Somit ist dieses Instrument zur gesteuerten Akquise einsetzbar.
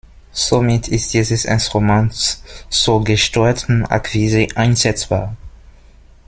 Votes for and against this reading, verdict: 0, 2, rejected